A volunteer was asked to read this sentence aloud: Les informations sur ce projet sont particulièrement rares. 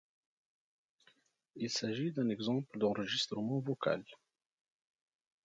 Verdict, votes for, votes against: rejected, 1, 2